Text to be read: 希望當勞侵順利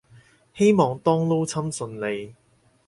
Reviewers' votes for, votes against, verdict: 4, 0, accepted